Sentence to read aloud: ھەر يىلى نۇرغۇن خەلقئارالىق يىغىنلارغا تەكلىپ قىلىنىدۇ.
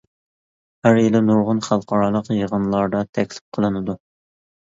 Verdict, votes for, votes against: rejected, 0, 2